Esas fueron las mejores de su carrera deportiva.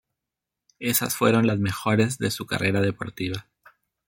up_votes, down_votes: 2, 0